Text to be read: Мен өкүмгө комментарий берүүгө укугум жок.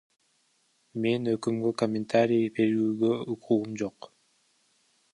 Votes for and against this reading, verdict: 0, 2, rejected